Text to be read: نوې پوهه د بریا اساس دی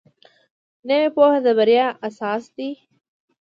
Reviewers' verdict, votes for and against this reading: accepted, 2, 0